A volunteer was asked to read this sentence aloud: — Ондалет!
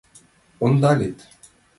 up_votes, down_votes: 1, 2